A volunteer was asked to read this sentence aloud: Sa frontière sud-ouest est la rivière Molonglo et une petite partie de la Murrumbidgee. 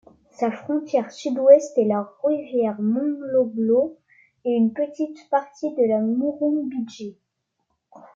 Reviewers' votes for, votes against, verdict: 0, 2, rejected